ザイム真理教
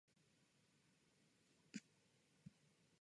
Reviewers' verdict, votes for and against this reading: rejected, 0, 2